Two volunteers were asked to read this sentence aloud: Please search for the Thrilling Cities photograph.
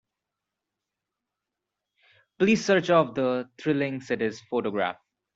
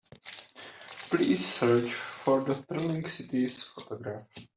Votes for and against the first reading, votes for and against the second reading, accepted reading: 0, 2, 2, 0, second